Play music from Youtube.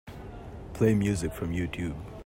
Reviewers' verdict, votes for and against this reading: accepted, 2, 0